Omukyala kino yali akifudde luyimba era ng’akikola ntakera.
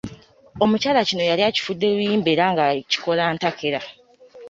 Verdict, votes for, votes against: accepted, 3, 1